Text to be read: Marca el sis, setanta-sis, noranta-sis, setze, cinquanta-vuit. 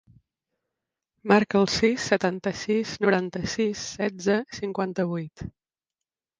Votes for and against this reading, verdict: 3, 0, accepted